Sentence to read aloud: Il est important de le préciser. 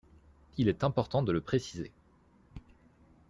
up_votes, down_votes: 2, 0